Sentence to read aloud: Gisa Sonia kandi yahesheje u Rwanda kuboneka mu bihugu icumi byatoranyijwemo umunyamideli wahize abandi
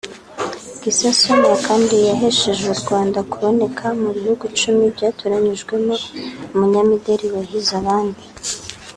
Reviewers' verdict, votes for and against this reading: rejected, 1, 2